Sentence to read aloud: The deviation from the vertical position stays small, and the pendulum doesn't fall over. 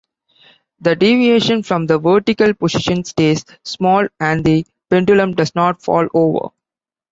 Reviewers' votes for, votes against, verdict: 2, 0, accepted